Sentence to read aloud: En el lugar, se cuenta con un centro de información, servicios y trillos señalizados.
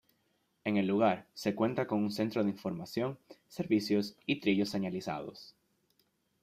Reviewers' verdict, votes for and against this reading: accepted, 2, 0